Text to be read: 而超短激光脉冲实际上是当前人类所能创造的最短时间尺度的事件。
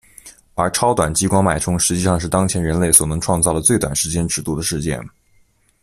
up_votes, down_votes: 2, 1